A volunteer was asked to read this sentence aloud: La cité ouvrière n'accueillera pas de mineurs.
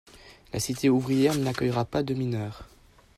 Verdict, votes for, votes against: accepted, 2, 0